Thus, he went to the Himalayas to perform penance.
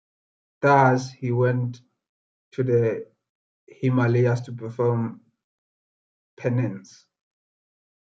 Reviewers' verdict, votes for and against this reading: rejected, 0, 2